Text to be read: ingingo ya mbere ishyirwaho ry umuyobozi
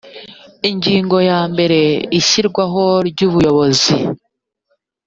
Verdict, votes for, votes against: rejected, 1, 2